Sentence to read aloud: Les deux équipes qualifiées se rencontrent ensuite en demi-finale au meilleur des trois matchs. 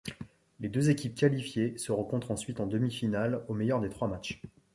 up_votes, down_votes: 2, 0